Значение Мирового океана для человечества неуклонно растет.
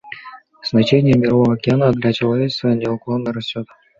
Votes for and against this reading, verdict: 2, 0, accepted